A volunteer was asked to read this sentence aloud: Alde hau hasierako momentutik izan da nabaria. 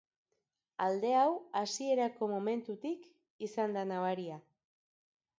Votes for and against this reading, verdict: 2, 0, accepted